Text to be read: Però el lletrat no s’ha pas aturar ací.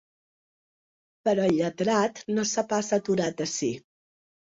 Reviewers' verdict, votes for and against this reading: rejected, 0, 2